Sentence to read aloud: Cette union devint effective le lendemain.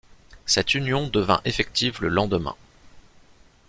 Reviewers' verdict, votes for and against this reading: accepted, 2, 0